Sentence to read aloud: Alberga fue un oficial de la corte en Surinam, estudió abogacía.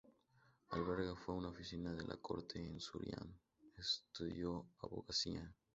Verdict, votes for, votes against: accepted, 2, 0